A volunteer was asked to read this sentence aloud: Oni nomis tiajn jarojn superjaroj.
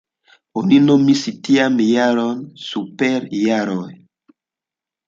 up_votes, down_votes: 2, 1